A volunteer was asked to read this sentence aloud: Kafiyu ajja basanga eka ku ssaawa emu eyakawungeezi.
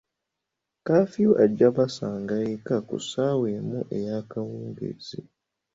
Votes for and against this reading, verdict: 2, 0, accepted